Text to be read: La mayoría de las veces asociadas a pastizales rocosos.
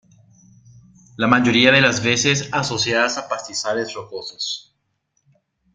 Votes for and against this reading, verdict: 3, 0, accepted